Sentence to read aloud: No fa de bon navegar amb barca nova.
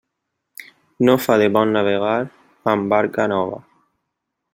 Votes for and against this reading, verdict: 2, 0, accepted